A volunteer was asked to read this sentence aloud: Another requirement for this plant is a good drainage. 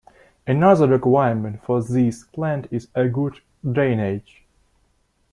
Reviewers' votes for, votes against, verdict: 2, 0, accepted